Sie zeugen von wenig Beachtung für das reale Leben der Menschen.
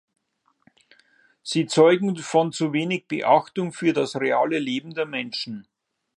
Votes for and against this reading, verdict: 0, 2, rejected